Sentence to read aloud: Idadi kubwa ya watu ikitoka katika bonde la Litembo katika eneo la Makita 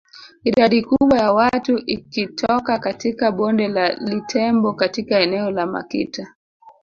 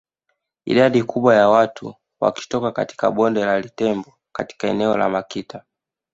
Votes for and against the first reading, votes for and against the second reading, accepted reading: 2, 1, 1, 2, first